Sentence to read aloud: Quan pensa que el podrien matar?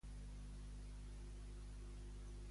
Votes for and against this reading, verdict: 0, 2, rejected